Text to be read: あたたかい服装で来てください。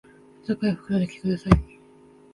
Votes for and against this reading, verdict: 0, 2, rejected